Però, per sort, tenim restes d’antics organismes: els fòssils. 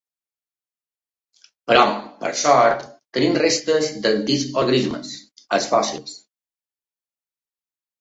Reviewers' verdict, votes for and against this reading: rejected, 1, 3